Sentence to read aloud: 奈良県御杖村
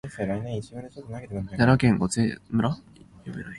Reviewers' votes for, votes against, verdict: 1, 2, rejected